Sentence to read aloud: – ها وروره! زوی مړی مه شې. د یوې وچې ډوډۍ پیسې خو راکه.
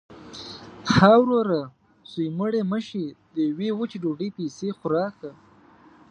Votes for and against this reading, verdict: 2, 0, accepted